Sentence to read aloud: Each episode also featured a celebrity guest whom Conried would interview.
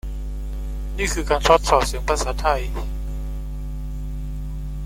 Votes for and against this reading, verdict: 1, 2, rejected